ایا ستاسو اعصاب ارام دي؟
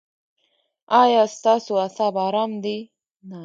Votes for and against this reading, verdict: 1, 2, rejected